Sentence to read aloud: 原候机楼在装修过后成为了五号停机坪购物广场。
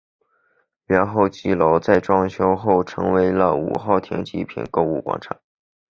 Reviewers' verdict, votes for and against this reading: rejected, 2, 2